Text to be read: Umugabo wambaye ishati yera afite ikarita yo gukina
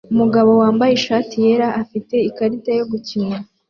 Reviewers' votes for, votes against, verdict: 3, 0, accepted